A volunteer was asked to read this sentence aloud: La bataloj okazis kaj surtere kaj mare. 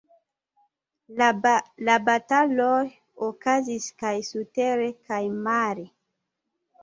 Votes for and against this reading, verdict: 0, 2, rejected